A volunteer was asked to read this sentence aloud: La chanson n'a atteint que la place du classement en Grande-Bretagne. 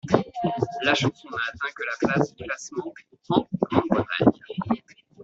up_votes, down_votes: 1, 2